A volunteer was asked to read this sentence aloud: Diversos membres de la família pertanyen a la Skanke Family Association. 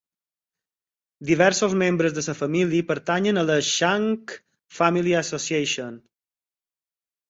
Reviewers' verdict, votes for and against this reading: rejected, 0, 4